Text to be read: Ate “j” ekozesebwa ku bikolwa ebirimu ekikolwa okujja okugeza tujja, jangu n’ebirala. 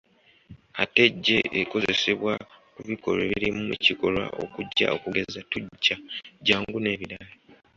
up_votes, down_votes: 2, 1